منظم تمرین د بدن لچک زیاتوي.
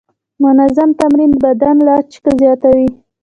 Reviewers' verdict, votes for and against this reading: accepted, 3, 0